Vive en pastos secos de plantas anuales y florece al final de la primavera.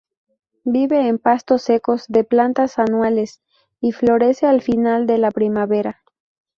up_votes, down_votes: 2, 0